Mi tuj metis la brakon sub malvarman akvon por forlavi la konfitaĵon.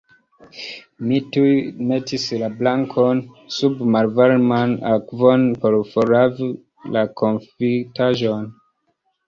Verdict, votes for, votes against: accepted, 2, 1